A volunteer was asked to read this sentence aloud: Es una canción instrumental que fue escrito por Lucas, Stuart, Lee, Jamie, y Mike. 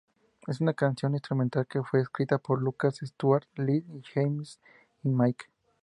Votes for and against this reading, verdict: 2, 0, accepted